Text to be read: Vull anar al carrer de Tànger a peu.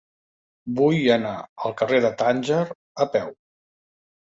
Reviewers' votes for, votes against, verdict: 3, 0, accepted